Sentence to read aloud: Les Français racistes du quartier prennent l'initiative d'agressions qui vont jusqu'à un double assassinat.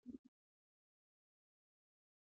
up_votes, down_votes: 0, 2